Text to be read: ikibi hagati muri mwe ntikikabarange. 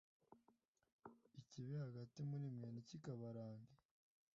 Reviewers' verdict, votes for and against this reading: accepted, 2, 0